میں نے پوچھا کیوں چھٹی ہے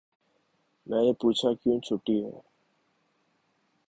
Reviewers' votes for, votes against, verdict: 3, 0, accepted